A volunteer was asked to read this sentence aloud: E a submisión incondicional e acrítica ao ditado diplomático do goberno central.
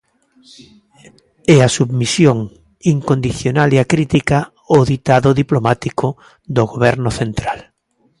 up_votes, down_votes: 2, 0